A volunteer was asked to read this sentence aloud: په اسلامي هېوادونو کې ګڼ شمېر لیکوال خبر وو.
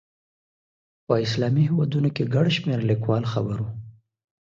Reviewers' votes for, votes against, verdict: 2, 0, accepted